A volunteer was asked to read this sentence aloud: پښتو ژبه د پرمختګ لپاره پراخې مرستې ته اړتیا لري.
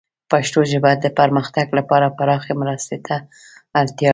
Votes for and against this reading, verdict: 1, 2, rejected